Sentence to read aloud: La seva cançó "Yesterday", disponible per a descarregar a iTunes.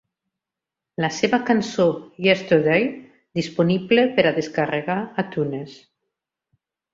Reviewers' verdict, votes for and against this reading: rejected, 1, 2